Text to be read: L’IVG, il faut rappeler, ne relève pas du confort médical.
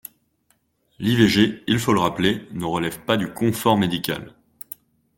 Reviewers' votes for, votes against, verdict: 1, 2, rejected